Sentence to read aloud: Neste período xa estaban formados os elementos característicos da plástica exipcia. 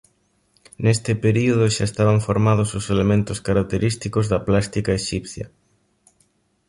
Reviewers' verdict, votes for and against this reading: accepted, 2, 0